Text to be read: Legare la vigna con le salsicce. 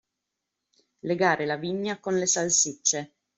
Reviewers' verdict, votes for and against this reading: accepted, 2, 0